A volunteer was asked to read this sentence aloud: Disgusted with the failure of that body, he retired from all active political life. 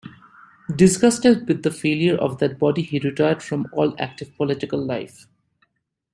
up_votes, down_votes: 2, 0